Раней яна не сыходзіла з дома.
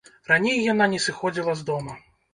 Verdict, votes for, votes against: accepted, 2, 0